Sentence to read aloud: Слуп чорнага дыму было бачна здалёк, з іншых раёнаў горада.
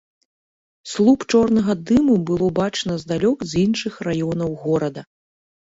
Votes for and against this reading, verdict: 2, 0, accepted